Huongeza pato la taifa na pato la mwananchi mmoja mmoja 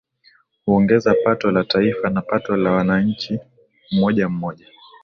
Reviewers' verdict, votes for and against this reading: rejected, 0, 2